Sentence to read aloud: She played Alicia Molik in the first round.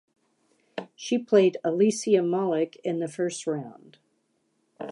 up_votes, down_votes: 2, 0